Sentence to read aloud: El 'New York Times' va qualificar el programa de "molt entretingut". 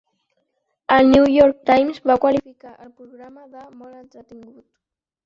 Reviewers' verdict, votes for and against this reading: accepted, 2, 0